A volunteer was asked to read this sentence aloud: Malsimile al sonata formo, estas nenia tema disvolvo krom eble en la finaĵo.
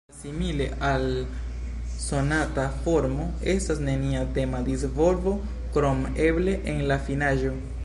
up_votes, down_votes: 0, 2